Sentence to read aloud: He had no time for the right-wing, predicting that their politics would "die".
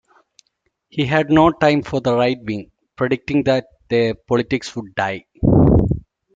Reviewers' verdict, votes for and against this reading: accepted, 2, 1